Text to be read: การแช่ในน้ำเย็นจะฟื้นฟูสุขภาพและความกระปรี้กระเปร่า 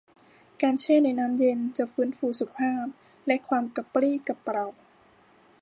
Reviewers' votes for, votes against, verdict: 1, 2, rejected